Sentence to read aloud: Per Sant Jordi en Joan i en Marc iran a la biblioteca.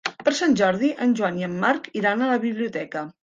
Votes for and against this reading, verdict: 3, 0, accepted